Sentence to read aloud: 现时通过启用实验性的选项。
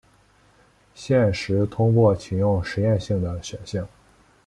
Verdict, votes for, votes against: accepted, 2, 0